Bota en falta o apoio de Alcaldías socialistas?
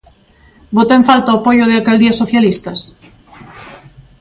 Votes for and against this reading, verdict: 2, 0, accepted